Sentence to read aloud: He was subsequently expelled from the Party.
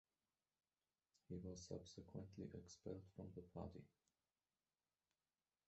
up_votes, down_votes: 1, 2